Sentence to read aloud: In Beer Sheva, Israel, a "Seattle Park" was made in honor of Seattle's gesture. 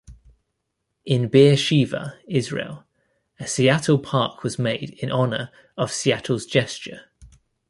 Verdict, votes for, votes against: accepted, 2, 1